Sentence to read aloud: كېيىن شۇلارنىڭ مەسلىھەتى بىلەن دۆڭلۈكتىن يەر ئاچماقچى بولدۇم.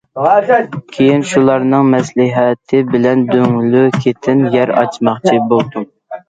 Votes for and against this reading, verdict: 0, 2, rejected